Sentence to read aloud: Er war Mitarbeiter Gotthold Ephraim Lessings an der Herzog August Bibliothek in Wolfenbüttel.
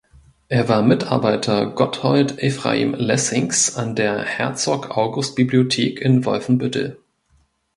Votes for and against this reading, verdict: 2, 0, accepted